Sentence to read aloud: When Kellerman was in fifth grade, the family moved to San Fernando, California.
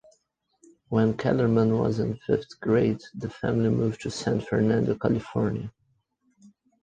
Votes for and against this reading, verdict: 2, 1, accepted